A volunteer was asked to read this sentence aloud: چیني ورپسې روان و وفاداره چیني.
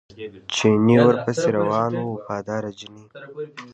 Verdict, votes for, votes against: accepted, 2, 1